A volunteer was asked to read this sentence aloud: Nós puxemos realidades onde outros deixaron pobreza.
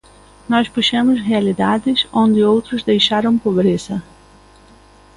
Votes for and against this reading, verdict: 2, 0, accepted